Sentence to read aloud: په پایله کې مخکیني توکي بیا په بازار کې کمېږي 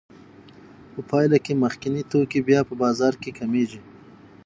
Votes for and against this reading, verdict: 3, 0, accepted